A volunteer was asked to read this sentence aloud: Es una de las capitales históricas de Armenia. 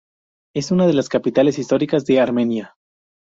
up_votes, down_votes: 4, 0